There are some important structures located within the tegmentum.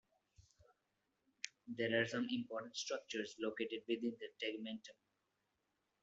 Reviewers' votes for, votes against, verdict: 0, 3, rejected